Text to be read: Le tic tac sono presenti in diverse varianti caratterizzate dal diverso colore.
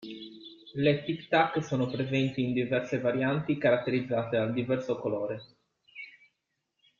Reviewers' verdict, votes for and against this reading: accepted, 2, 1